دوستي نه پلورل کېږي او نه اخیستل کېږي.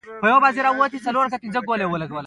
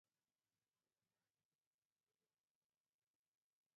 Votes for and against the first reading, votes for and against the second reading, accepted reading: 2, 0, 0, 4, first